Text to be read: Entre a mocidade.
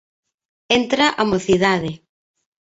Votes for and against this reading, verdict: 1, 2, rejected